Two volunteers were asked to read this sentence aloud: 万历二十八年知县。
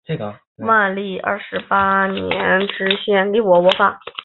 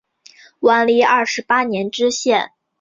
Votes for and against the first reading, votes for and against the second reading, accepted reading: 1, 2, 3, 0, second